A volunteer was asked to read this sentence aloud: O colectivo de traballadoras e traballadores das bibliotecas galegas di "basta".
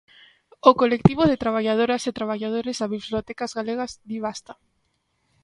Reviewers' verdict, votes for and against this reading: rejected, 0, 2